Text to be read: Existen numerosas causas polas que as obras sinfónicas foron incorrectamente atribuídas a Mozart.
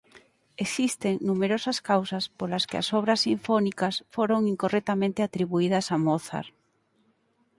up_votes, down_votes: 4, 0